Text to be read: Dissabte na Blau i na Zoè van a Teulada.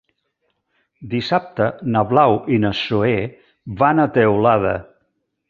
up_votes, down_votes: 3, 0